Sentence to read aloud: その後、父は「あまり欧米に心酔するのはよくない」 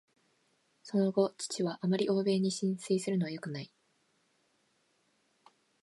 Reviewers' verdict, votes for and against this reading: accepted, 2, 0